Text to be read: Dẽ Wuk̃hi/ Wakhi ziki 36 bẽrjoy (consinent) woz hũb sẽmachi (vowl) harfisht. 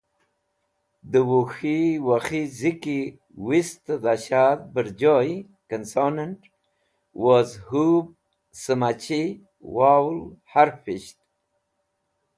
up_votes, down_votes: 0, 2